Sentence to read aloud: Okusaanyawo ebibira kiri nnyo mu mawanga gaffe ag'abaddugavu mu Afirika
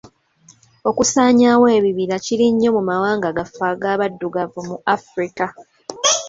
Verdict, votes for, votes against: accepted, 2, 0